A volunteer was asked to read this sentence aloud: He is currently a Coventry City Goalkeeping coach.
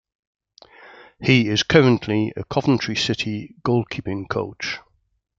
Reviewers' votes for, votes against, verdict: 2, 0, accepted